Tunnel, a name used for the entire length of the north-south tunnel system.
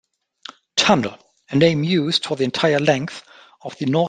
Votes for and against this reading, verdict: 0, 2, rejected